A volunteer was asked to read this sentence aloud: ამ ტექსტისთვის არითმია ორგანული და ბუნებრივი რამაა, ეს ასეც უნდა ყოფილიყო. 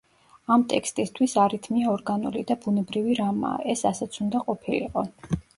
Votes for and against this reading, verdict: 2, 0, accepted